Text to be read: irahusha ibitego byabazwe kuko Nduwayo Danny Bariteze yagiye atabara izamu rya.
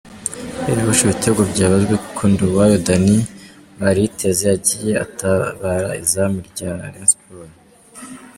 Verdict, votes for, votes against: rejected, 0, 2